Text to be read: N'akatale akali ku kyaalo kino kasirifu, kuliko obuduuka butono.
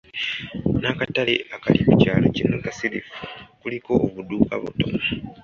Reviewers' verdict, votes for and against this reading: accepted, 2, 0